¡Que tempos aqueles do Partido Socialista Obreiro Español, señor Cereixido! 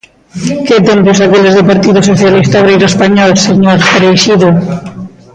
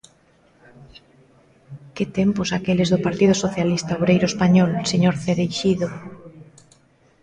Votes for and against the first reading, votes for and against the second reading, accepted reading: 1, 2, 2, 0, second